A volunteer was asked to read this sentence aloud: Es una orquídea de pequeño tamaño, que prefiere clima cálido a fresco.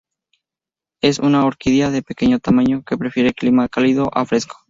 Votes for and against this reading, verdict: 4, 0, accepted